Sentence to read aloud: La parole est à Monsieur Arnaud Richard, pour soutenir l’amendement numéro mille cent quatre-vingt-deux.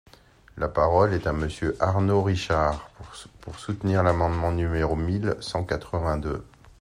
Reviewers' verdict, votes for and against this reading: rejected, 1, 2